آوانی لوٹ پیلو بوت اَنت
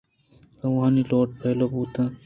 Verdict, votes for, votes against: accepted, 2, 0